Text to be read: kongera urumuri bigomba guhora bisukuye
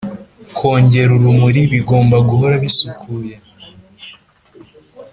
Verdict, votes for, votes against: accepted, 2, 0